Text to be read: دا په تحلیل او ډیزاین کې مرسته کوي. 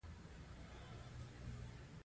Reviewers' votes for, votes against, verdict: 2, 0, accepted